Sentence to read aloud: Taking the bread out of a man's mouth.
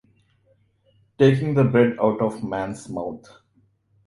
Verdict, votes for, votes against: accepted, 2, 1